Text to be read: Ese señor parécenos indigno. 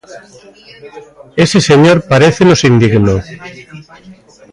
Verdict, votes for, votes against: accepted, 2, 1